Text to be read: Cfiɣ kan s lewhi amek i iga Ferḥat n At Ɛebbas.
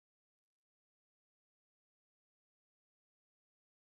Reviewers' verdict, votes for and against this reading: rejected, 0, 2